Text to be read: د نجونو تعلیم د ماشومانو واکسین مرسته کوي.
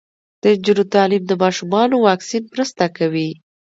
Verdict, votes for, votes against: accepted, 2, 0